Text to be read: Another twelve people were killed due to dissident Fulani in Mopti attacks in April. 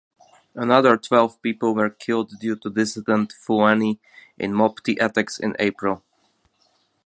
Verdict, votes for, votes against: accepted, 2, 0